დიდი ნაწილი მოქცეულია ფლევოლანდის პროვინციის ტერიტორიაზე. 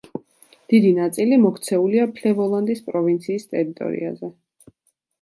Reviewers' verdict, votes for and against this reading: accepted, 2, 0